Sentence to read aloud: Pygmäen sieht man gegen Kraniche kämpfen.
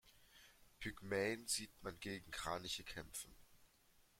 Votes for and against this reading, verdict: 2, 0, accepted